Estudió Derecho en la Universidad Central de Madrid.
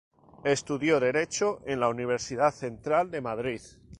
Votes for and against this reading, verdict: 2, 0, accepted